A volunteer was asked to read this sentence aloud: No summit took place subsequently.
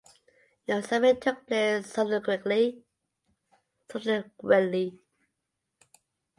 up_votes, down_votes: 0, 2